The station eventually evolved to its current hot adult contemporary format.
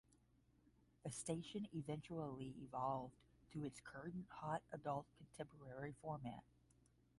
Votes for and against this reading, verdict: 5, 5, rejected